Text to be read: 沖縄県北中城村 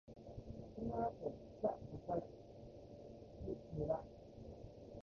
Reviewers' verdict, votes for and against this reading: rejected, 0, 2